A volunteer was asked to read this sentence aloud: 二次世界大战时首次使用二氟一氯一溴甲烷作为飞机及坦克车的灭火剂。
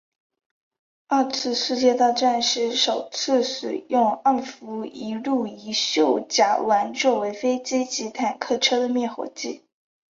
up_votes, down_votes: 4, 0